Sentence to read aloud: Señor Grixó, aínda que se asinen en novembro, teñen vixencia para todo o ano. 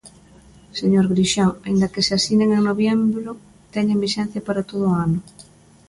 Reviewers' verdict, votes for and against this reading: rejected, 0, 2